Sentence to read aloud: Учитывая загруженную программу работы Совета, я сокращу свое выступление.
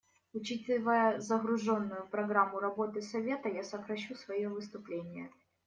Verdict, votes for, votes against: rejected, 0, 2